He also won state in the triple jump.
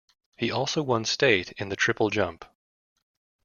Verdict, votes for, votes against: accepted, 2, 0